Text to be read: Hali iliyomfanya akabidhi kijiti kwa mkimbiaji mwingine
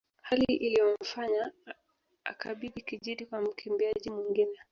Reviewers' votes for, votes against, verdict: 0, 2, rejected